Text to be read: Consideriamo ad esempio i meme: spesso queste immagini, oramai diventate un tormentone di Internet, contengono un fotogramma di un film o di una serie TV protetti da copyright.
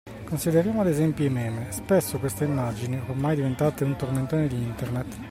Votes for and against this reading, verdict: 0, 2, rejected